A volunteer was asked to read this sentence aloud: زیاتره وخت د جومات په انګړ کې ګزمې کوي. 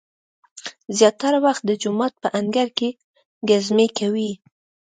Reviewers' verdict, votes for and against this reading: accepted, 2, 0